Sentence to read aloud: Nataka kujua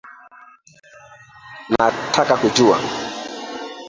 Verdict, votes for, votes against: rejected, 0, 2